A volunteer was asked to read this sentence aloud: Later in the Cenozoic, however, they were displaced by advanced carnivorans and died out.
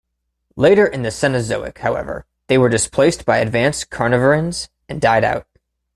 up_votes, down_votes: 2, 0